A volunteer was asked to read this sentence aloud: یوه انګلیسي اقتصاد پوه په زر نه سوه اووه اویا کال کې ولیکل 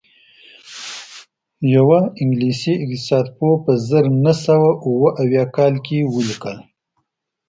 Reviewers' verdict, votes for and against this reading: rejected, 1, 2